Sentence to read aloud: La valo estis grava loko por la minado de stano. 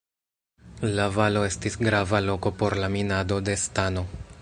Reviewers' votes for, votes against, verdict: 2, 0, accepted